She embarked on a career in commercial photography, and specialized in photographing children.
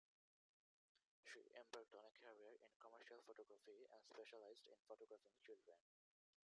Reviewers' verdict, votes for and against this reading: rejected, 0, 2